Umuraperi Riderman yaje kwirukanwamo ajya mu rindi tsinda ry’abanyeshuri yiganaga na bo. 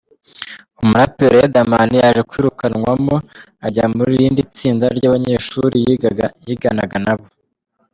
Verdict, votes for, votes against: rejected, 1, 2